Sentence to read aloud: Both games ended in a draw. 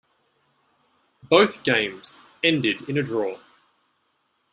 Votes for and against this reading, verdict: 2, 0, accepted